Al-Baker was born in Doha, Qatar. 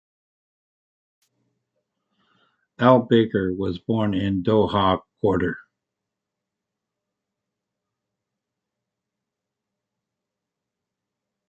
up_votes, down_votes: 0, 2